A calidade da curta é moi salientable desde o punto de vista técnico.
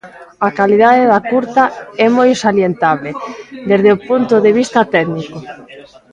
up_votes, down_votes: 1, 2